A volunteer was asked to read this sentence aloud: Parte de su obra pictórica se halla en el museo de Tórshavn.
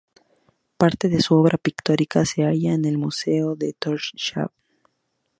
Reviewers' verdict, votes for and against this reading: accepted, 2, 0